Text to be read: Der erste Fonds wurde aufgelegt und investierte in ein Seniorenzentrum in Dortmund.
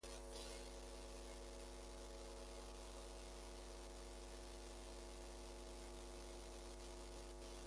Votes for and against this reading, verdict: 0, 2, rejected